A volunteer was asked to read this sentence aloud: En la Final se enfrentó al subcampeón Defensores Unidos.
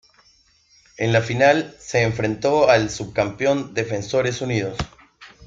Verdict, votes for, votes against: accepted, 3, 0